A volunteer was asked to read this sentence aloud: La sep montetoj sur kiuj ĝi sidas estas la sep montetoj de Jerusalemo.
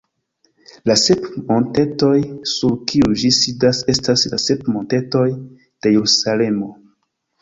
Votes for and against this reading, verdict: 1, 2, rejected